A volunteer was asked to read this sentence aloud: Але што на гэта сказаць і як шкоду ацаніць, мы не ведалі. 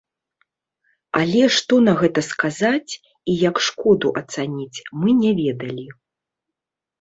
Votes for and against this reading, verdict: 2, 0, accepted